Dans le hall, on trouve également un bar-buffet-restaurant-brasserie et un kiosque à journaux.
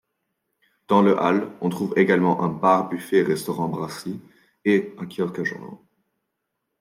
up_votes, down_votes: 1, 2